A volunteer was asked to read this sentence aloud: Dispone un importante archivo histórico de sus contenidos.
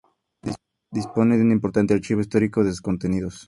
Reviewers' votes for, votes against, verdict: 2, 0, accepted